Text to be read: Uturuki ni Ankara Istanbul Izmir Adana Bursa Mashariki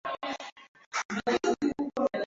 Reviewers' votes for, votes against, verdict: 0, 2, rejected